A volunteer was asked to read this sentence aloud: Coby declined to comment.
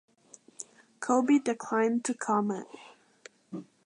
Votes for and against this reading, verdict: 2, 1, accepted